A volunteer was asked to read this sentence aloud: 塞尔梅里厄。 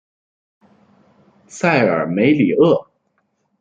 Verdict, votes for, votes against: accepted, 2, 0